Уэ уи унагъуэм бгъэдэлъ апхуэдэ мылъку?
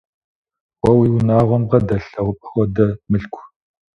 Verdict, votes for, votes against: rejected, 0, 2